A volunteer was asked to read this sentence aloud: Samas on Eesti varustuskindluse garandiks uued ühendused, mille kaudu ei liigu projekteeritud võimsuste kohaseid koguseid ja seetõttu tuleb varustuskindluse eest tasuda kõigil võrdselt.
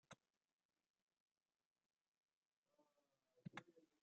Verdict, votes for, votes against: rejected, 0, 2